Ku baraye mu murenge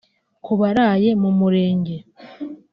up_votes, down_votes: 2, 0